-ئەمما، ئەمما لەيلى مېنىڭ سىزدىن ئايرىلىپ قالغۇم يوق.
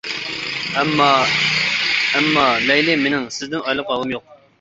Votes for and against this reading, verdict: 1, 2, rejected